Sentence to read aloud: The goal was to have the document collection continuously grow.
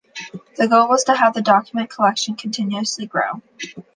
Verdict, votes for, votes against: accepted, 2, 0